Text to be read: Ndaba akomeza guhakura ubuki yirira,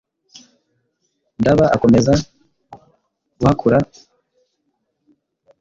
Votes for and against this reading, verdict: 1, 2, rejected